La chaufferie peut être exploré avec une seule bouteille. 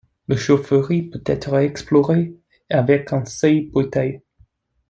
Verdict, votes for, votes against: rejected, 0, 2